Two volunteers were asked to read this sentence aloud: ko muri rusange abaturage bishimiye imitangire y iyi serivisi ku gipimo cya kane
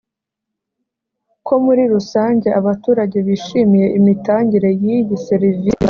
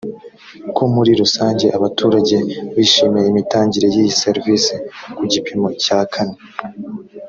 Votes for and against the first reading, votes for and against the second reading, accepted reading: 1, 2, 2, 0, second